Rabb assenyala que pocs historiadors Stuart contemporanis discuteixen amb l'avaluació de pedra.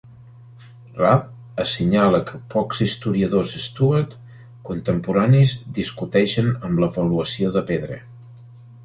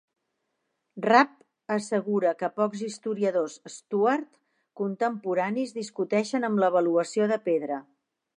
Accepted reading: first